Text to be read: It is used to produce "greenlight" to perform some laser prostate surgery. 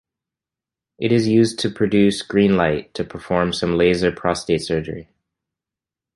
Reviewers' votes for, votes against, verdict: 2, 0, accepted